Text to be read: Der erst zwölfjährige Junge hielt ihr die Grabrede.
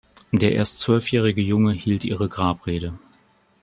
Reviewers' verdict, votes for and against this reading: rejected, 1, 2